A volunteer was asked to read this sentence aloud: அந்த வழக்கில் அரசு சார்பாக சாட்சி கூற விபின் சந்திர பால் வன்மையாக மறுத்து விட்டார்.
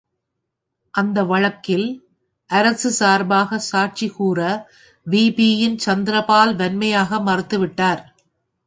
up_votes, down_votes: 0, 2